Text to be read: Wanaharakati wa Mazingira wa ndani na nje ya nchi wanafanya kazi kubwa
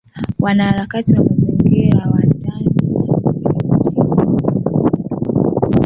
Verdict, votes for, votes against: rejected, 0, 2